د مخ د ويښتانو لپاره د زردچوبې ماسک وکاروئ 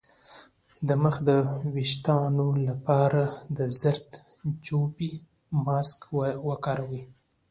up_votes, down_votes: 2, 0